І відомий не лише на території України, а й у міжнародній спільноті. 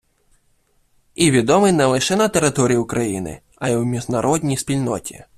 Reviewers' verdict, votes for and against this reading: accepted, 2, 0